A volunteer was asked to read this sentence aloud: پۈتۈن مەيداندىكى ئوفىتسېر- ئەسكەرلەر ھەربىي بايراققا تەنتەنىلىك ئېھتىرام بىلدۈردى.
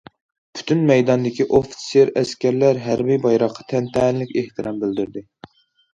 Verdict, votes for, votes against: accepted, 2, 0